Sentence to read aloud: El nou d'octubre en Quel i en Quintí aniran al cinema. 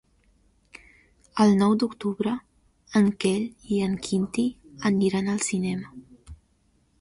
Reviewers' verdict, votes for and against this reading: accepted, 2, 0